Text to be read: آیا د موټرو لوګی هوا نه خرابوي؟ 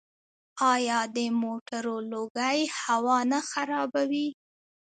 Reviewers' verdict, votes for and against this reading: accepted, 2, 1